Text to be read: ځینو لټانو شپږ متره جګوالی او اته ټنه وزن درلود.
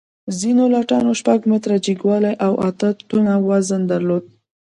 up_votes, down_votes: 1, 2